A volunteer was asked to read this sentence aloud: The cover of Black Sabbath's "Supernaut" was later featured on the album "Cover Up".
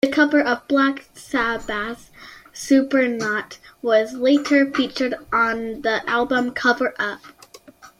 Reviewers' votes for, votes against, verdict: 2, 0, accepted